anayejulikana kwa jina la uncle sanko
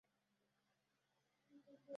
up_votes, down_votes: 0, 2